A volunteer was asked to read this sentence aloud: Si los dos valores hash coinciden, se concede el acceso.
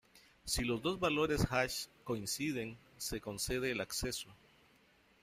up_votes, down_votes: 1, 2